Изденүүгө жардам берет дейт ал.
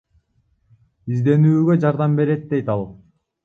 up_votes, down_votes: 1, 2